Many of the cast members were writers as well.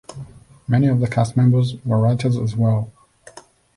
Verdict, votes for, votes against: accepted, 2, 0